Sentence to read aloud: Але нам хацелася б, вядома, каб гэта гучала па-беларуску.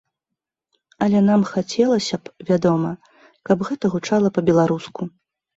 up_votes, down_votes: 2, 0